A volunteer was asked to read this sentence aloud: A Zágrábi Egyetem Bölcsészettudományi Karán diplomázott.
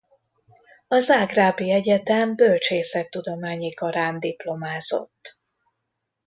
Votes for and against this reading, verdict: 2, 0, accepted